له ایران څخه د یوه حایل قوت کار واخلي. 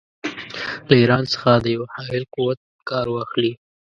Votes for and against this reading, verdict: 2, 0, accepted